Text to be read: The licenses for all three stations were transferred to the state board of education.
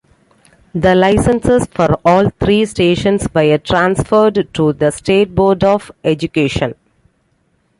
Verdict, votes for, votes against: accepted, 2, 1